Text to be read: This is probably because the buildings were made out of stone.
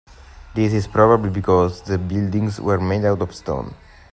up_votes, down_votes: 2, 0